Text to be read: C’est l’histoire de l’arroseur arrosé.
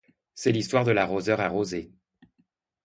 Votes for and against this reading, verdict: 2, 0, accepted